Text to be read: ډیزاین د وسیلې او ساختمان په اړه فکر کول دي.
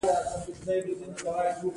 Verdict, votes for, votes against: rejected, 1, 2